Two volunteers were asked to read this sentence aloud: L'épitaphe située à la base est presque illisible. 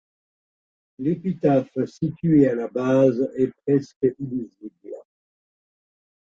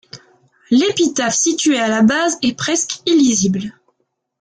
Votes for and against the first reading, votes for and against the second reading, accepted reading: 0, 2, 2, 0, second